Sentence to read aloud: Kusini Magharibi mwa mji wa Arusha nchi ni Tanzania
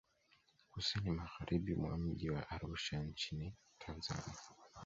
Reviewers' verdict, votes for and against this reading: rejected, 0, 2